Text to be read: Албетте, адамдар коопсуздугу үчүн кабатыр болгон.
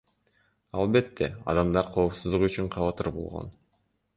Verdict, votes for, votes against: rejected, 0, 2